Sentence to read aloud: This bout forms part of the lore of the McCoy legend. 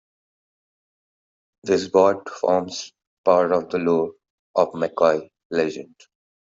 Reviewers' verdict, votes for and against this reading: rejected, 0, 2